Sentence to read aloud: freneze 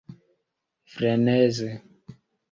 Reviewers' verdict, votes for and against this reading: accepted, 3, 0